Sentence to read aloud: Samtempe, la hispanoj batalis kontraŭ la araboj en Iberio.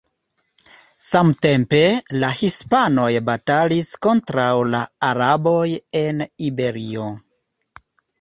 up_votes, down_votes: 2, 0